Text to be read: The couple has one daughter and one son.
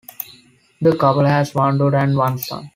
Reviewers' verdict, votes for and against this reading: accepted, 4, 1